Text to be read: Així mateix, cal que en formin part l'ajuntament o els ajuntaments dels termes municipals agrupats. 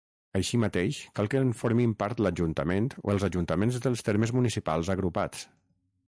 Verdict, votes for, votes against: accepted, 6, 0